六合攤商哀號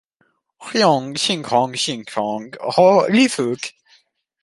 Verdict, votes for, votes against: rejected, 0, 2